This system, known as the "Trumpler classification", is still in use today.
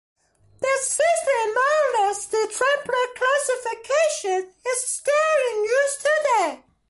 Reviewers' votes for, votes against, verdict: 2, 1, accepted